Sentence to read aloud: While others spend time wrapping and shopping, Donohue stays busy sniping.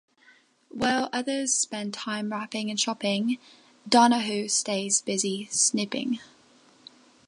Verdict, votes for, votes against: rejected, 0, 3